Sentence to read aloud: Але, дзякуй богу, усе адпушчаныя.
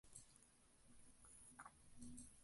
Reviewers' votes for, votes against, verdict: 0, 2, rejected